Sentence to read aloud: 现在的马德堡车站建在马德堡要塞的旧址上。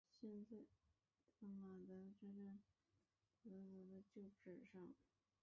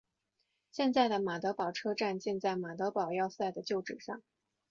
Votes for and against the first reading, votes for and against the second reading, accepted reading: 0, 2, 2, 0, second